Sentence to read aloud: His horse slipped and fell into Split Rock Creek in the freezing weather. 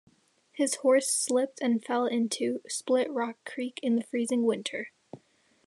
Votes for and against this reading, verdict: 0, 2, rejected